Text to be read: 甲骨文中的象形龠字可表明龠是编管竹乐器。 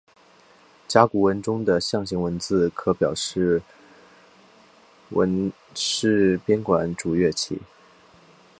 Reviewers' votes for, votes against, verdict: 2, 3, rejected